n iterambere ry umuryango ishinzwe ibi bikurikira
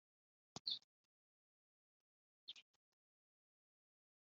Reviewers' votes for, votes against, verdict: 1, 2, rejected